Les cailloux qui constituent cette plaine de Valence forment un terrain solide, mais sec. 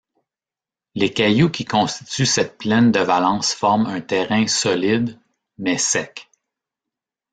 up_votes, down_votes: 1, 2